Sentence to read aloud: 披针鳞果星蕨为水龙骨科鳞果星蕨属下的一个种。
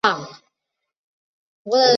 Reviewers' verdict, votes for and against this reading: rejected, 0, 3